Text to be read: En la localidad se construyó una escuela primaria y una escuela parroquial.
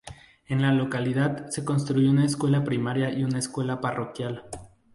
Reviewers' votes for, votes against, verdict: 2, 0, accepted